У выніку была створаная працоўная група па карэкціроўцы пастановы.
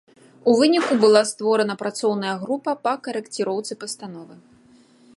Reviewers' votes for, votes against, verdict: 1, 2, rejected